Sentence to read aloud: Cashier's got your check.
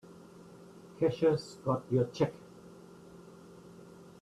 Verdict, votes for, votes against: accepted, 2, 1